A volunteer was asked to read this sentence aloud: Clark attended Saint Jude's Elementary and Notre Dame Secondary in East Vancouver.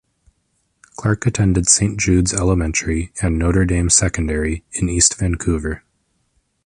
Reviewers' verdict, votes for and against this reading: rejected, 0, 2